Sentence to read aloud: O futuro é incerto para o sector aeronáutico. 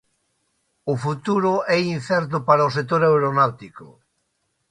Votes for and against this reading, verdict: 2, 0, accepted